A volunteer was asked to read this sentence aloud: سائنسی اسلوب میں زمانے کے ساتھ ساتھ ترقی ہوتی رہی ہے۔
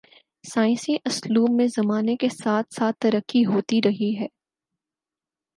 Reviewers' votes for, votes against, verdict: 4, 0, accepted